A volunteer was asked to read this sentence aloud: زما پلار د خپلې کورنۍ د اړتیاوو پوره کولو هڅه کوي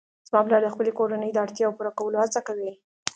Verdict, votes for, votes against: accepted, 2, 0